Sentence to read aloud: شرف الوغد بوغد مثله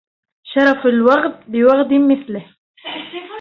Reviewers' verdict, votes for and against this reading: rejected, 0, 2